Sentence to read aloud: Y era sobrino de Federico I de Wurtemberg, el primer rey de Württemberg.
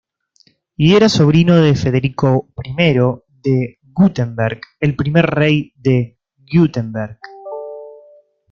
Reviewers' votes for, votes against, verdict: 2, 1, accepted